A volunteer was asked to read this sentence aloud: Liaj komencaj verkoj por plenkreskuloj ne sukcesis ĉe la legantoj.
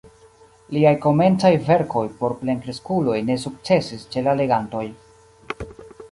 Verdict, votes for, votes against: rejected, 0, 2